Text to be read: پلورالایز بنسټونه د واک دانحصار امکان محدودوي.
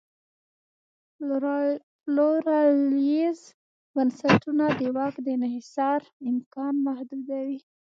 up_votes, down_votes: 1, 2